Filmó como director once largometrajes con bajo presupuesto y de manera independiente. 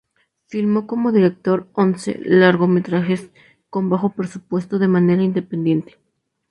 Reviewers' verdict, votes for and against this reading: rejected, 0, 2